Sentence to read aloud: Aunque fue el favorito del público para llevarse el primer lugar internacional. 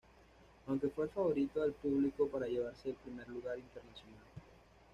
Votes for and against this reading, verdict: 2, 1, accepted